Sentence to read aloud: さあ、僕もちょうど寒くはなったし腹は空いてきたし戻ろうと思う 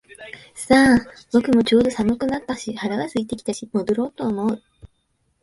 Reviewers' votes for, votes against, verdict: 0, 3, rejected